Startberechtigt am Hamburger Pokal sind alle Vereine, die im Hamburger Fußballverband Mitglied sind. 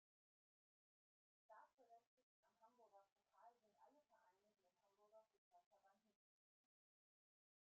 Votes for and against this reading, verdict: 0, 2, rejected